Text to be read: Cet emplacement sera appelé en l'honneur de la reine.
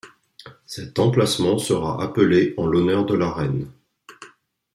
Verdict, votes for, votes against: accepted, 2, 0